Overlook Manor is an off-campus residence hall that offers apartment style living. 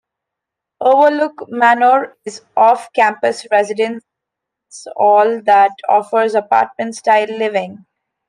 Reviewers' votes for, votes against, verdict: 0, 2, rejected